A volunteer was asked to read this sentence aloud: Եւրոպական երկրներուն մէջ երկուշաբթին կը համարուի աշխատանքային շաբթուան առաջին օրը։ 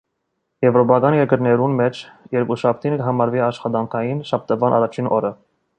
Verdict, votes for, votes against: accepted, 2, 0